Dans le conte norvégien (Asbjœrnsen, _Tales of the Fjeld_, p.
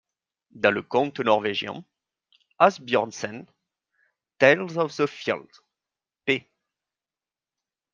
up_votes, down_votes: 2, 0